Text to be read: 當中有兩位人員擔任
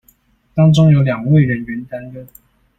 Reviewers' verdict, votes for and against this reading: accepted, 2, 0